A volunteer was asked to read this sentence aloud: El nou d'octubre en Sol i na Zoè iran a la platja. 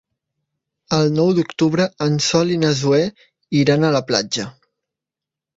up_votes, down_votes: 3, 0